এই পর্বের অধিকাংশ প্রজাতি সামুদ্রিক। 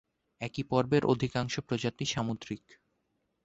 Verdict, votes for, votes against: rejected, 4, 9